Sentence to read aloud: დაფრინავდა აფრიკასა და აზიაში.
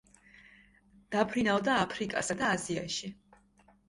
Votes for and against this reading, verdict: 2, 0, accepted